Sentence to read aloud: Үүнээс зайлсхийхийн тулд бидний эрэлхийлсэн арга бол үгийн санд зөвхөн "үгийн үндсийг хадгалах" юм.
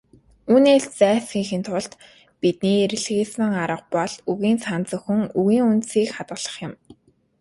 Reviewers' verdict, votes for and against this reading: rejected, 1, 2